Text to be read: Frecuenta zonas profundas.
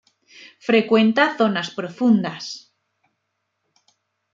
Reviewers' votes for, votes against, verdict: 2, 0, accepted